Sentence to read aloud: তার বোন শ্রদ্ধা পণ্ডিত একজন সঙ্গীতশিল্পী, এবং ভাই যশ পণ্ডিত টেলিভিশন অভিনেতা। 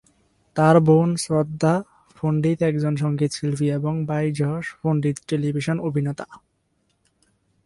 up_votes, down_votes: 0, 2